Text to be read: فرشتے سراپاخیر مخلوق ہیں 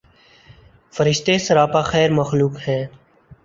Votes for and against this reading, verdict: 2, 0, accepted